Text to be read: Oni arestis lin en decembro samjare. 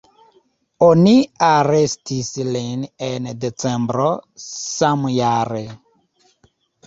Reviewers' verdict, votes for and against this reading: accepted, 2, 1